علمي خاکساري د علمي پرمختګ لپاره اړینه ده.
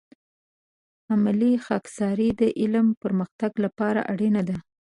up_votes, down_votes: 0, 4